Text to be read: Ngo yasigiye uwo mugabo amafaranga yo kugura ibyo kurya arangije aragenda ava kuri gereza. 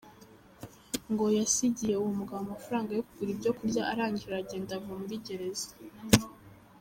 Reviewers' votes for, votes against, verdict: 2, 1, accepted